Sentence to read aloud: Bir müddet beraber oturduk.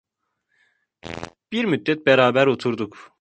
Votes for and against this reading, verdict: 2, 0, accepted